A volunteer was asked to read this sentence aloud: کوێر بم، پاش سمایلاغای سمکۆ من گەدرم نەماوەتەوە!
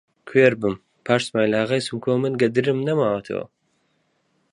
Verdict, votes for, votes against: accepted, 2, 0